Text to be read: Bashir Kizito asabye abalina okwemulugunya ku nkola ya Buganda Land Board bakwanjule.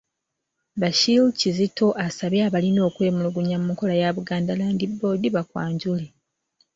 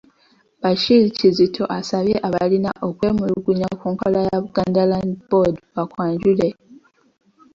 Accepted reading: second